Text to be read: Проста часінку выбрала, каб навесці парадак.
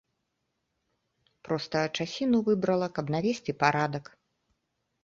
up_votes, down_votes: 0, 2